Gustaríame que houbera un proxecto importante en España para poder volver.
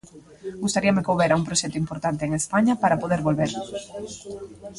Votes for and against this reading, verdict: 2, 0, accepted